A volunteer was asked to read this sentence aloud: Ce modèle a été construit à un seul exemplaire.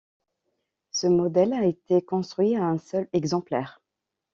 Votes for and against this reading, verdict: 2, 0, accepted